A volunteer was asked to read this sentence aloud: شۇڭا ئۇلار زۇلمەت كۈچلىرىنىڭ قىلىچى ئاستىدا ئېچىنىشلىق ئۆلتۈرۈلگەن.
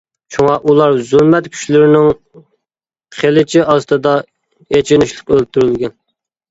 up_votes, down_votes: 2, 0